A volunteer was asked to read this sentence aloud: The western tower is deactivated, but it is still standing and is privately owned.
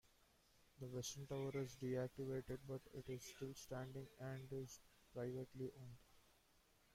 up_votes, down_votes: 0, 2